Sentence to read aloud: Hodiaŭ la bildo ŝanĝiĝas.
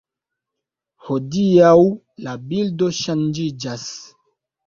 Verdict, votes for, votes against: rejected, 1, 2